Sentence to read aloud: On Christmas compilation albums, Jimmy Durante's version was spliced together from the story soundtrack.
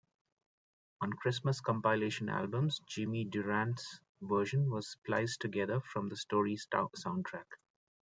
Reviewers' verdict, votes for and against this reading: rejected, 1, 2